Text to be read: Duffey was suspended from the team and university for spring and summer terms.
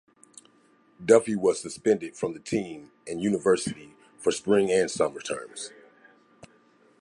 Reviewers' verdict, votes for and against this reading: accepted, 2, 1